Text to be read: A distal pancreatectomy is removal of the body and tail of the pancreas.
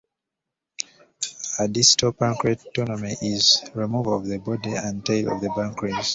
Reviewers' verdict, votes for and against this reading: rejected, 0, 2